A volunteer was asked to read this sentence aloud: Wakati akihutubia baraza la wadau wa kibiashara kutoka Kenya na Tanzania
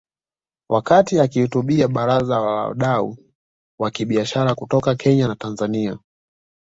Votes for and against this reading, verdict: 2, 0, accepted